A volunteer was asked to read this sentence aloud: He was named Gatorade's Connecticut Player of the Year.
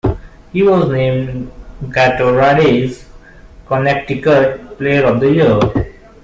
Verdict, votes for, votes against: rejected, 1, 2